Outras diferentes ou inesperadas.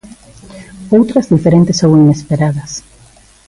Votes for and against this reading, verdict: 2, 1, accepted